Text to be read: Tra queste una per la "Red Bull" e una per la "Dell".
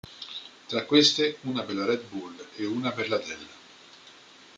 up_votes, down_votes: 2, 1